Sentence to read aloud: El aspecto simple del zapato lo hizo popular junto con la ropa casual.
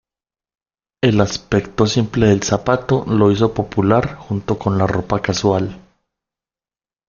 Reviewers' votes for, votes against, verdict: 2, 0, accepted